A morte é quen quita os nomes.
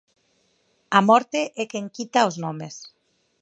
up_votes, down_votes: 4, 0